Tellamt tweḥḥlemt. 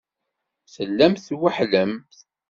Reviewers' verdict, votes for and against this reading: accepted, 2, 0